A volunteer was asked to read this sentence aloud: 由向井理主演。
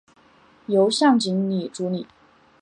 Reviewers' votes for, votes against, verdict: 0, 2, rejected